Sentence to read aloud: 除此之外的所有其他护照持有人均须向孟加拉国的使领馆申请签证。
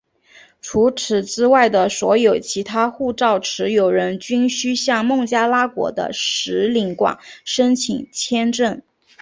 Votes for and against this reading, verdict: 6, 2, accepted